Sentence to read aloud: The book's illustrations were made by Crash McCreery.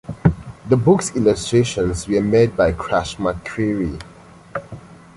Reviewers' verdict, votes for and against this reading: accepted, 2, 0